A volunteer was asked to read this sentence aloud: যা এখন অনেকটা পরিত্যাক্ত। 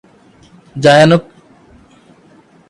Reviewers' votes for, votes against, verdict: 0, 3, rejected